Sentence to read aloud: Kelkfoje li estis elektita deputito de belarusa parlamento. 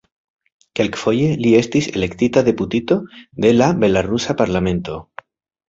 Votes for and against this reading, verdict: 2, 0, accepted